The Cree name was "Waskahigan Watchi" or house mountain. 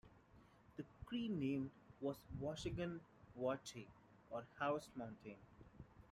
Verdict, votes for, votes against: rejected, 1, 2